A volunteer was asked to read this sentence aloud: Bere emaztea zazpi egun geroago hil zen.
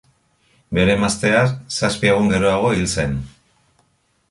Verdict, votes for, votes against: accepted, 2, 0